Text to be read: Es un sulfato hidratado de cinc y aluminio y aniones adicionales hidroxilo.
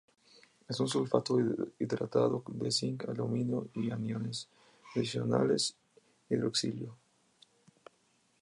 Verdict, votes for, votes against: rejected, 0, 2